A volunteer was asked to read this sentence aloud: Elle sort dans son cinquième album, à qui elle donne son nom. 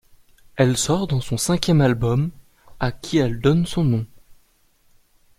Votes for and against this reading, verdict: 2, 0, accepted